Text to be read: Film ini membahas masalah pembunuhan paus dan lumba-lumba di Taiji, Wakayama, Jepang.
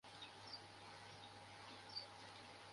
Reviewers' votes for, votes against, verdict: 0, 2, rejected